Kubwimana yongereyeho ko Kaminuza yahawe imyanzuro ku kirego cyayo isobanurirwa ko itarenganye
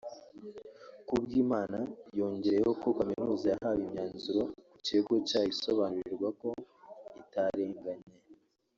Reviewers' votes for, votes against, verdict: 1, 2, rejected